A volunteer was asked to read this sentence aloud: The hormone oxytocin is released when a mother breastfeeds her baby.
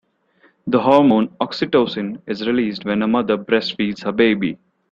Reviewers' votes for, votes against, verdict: 2, 0, accepted